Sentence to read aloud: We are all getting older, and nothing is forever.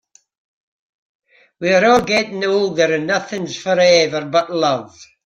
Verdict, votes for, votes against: rejected, 1, 2